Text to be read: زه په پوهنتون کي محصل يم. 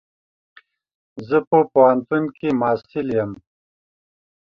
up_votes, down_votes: 2, 0